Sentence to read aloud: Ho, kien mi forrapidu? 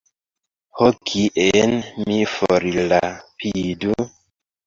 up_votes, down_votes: 1, 2